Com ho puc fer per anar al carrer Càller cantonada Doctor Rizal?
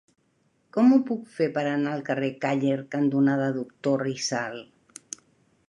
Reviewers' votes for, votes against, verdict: 2, 0, accepted